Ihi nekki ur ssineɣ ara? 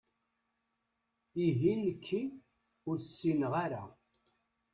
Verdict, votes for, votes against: rejected, 1, 2